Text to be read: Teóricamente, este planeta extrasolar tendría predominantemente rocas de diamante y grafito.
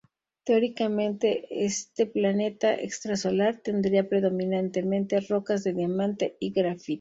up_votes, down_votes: 2, 2